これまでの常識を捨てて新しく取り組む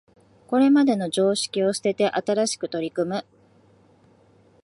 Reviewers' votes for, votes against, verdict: 2, 0, accepted